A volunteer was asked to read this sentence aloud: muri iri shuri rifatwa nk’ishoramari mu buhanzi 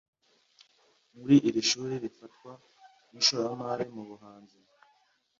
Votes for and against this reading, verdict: 2, 0, accepted